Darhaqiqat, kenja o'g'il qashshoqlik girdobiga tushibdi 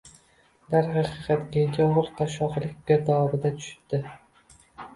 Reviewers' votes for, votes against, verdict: 1, 2, rejected